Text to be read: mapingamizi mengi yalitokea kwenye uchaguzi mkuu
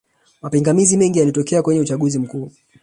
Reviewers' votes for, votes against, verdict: 1, 2, rejected